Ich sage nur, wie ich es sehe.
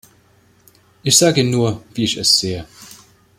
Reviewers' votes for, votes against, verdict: 2, 0, accepted